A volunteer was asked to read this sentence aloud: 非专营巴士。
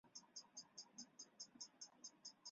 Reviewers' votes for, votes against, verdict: 2, 5, rejected